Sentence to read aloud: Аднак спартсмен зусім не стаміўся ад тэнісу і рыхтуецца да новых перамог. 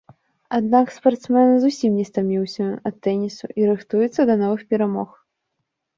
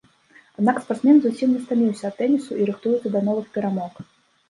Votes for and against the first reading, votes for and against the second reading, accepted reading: 2, 0, 1, 2, first